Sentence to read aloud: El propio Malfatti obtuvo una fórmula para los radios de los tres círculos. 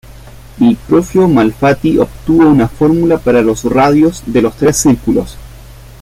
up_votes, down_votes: 1, 2